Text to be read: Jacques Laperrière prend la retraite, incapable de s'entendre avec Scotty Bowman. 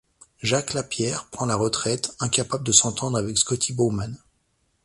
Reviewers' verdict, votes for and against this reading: rejected, 0, 2